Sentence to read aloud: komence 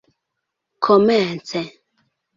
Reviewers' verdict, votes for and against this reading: accepted, 2, 0